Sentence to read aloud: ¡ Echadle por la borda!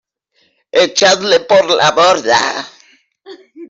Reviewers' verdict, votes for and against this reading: rejected, 0, 2